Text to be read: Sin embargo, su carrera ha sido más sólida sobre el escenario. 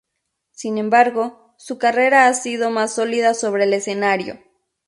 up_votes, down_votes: 0, 2